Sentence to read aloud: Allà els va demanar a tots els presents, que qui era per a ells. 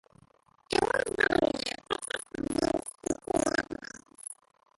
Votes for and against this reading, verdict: 0, 2, rejected